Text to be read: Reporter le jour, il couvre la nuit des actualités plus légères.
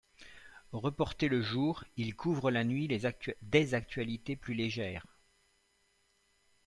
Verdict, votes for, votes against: rejected, 1, 2